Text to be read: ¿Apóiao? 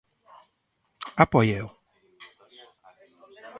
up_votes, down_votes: 2, 1